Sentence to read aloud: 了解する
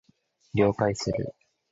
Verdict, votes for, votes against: accepted, 3, 0